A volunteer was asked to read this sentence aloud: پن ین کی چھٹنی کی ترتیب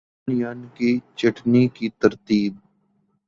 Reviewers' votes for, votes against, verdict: 3, 0, accepted